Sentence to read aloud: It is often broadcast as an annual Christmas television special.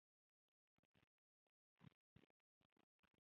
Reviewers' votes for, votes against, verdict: 0, 2, rejected